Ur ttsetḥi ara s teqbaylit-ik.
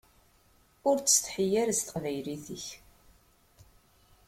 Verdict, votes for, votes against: accepted, 2, 0